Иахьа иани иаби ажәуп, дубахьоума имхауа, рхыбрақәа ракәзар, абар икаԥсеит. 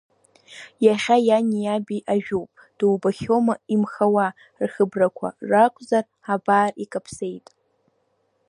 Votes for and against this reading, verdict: 1, 2, rejected